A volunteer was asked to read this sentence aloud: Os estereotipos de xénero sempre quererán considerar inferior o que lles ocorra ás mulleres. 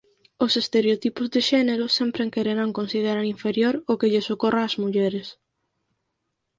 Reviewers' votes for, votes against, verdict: 4, 0, accepted